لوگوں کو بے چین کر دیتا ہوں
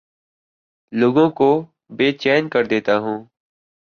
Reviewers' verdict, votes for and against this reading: accepted, 3, 0